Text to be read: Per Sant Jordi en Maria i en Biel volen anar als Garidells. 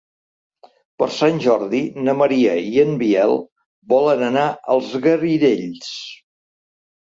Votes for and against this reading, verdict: 1, 2, rejected